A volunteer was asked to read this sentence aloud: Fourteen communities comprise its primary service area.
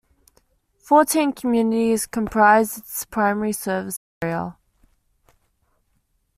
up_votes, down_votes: 1, 2